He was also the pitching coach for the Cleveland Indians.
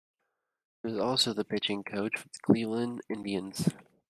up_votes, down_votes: 0, 2